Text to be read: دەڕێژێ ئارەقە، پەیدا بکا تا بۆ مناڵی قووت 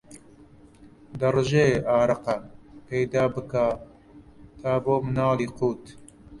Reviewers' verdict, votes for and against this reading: rejected, 0, 2